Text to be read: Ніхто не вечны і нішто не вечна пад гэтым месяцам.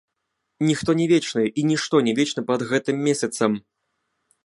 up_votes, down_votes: 2, 0